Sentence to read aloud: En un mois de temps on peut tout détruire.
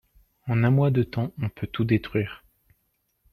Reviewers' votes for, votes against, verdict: 2, 0, accepted